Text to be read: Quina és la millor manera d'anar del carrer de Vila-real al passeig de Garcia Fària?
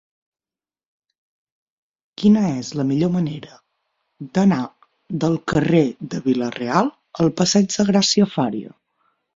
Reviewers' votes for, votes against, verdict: 3, 6, rejected